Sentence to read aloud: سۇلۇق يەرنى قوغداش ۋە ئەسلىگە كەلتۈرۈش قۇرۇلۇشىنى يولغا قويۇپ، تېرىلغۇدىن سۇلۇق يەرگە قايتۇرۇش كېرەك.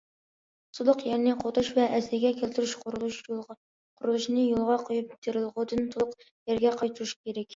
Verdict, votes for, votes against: rejected, 0, 2